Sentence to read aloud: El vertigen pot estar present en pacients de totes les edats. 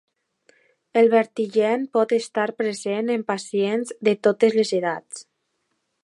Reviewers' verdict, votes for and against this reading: accepted, 2, 1